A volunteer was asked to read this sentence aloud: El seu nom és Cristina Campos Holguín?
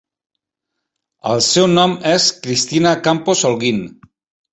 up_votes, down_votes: 2, 3